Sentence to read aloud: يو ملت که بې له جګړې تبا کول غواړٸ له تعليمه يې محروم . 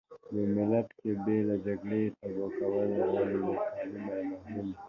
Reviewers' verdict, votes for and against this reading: rejected, 0, 4